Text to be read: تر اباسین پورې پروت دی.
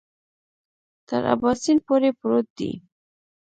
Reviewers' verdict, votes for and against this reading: rejected, 1, 2